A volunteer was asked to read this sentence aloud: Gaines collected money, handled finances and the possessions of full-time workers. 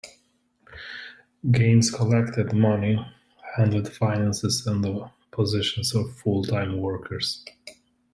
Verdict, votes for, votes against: accepted, 2, 1